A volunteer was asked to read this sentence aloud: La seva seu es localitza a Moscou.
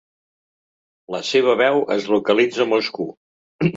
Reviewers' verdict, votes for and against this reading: rejected, 1, 2